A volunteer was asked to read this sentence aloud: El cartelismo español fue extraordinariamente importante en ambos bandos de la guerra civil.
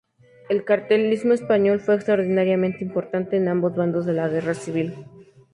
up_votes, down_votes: 2, 0